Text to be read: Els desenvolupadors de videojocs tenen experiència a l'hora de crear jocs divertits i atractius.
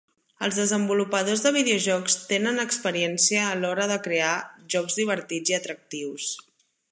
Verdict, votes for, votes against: accepted, 2, 0